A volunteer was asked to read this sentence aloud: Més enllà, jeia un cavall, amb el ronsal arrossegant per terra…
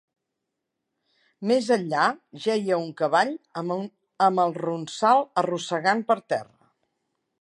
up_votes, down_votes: 1, 2